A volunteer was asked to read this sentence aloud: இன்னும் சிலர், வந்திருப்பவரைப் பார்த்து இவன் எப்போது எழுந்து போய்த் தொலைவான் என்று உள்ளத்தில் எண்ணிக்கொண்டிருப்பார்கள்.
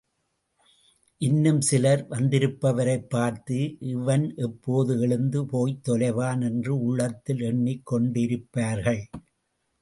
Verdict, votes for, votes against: rejected, 0, 2